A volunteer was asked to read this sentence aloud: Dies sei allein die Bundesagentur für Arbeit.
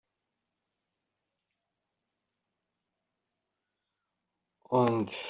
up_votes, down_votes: 0, 2